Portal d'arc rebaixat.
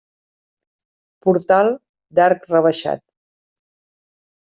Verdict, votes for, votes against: accepted, 3, 0